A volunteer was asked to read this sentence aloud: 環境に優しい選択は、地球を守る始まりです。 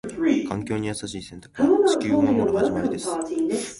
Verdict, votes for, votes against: rejected, 0, 2